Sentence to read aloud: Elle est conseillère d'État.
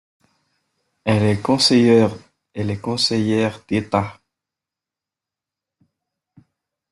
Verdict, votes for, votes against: rejected, 0, 2